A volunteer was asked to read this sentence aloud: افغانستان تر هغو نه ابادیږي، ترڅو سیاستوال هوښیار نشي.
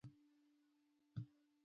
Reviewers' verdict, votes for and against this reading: rejected, 1, 2